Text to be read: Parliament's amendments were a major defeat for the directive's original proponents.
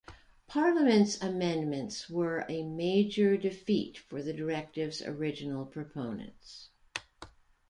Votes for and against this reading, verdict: 2, 0, accepted